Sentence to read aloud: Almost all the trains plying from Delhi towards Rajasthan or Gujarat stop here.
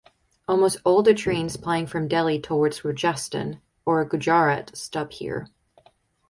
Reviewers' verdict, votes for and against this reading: accepted, 4, 0